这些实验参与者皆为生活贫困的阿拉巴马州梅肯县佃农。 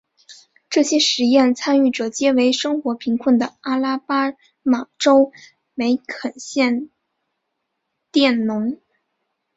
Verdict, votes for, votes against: rejected, 2, 3